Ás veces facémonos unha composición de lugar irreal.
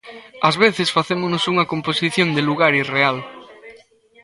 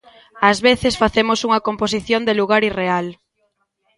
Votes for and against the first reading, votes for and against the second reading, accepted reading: 2, 0, 0, 2, first